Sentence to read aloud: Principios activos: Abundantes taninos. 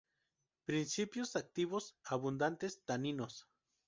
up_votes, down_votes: 2, 0